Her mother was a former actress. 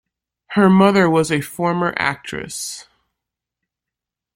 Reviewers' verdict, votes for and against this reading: accepted, 2, 0